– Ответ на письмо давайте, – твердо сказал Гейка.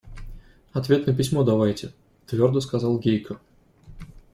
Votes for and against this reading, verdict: 2, 0, accepted